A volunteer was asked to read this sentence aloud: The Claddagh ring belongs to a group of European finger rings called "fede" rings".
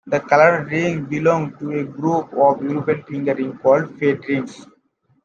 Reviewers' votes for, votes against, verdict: 1, 2, rejected